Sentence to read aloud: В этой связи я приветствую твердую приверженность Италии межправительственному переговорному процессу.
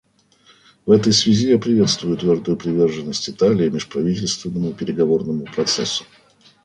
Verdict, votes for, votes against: accepted, 2, 0